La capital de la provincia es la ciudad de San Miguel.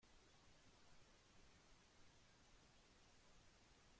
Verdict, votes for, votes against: rejected, 0, 2